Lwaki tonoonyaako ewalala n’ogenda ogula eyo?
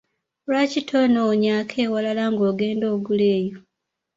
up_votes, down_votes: 1, 2